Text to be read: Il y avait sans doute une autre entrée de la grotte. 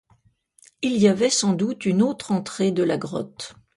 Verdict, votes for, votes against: accepted, 2, 0